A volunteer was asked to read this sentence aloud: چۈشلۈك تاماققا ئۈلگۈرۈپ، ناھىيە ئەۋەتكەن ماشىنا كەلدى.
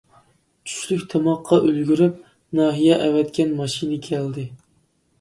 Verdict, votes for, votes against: accepted, 2, 0